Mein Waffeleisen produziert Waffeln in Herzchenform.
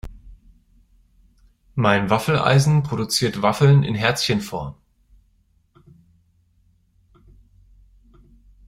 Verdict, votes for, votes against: accepted, 2, 0